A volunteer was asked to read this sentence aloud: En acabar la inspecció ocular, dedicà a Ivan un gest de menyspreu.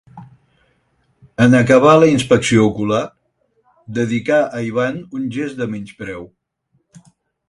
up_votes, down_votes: 4, 0